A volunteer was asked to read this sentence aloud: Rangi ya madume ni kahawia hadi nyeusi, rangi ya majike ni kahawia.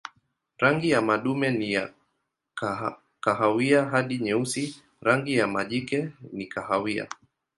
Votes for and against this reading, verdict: 2, 1, accepted